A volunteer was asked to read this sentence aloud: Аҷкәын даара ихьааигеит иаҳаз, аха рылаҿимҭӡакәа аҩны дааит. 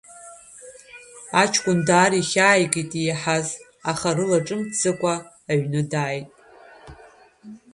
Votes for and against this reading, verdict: 2, 0, accepted